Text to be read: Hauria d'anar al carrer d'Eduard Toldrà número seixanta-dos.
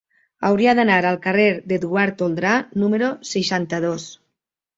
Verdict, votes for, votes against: accepted, 3, 0